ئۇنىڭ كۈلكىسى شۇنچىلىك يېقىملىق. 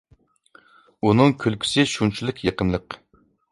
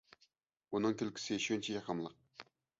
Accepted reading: first